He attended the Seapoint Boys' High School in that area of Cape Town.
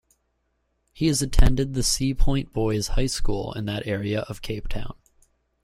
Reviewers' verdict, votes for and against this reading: rejected, 0, 2